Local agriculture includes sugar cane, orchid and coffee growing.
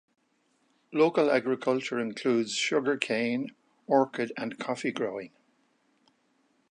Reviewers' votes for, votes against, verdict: 2, 0, accepted